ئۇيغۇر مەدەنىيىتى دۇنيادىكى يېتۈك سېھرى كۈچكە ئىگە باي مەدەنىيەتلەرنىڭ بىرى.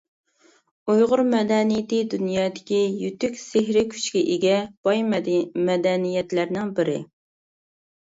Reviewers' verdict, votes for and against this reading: rejected, 1, 2